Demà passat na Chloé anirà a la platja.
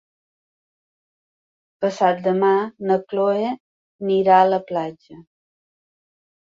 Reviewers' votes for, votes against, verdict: 0, 2, rejected